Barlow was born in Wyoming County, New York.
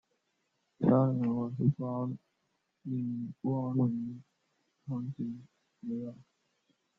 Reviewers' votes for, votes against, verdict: 0, 2, rejected